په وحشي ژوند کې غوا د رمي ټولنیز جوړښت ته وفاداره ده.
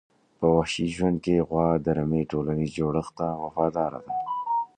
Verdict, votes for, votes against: accepted, 2, 0